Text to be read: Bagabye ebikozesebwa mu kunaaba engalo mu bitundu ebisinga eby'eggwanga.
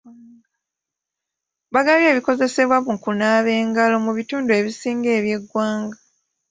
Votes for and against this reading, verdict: 2, 1, accepted